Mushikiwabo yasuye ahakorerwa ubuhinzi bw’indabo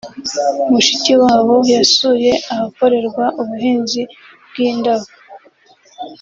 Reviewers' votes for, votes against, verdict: 2, 0, accepted